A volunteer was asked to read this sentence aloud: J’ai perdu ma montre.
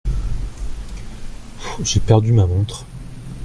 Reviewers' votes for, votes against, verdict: 1, 2, rejected